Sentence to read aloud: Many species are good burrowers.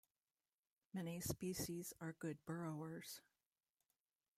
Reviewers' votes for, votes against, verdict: 1, 2, rejected